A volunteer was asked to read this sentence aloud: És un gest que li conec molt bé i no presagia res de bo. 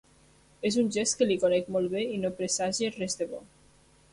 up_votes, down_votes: 0, 2